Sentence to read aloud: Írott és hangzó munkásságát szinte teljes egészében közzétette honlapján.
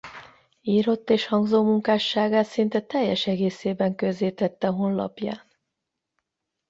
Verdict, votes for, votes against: accepted, 8, 0